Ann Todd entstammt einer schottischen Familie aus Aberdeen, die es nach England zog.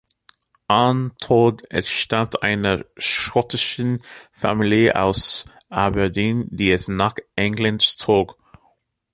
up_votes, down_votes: 1, 2